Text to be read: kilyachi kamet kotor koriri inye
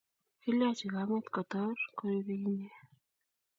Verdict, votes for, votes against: rejected, 1, 2